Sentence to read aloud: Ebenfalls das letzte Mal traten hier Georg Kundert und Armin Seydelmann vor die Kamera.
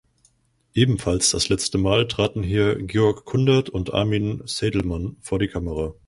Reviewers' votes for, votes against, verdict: 4, 0, accepted